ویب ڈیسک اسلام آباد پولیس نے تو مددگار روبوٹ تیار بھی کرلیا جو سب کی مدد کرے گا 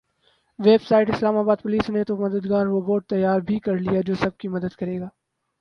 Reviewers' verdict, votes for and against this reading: rejected, 0, 2